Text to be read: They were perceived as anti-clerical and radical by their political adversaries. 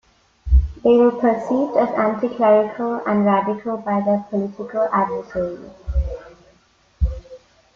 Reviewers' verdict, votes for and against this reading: accepted, 2, 0